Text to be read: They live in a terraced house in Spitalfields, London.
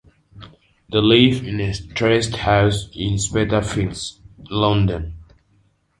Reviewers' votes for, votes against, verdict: 1, 2, rejected